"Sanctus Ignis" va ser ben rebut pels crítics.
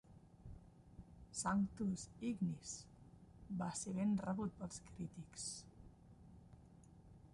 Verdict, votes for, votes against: rejected, 1, 2